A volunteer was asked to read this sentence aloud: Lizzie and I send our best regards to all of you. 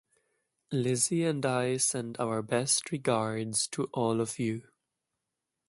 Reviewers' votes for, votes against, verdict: 0, 2, rejected